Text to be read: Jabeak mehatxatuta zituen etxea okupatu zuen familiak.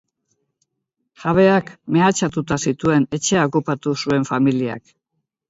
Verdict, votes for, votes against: accepted, 2, 0